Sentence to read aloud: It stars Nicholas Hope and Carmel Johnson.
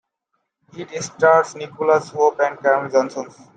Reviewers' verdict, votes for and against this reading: rejected, 1, 2